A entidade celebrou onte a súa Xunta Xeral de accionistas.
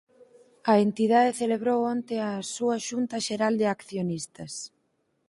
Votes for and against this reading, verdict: 4, 0, accepted